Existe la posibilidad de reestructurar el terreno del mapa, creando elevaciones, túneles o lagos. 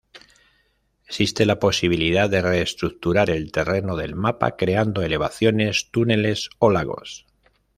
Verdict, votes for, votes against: accepted, 2, 0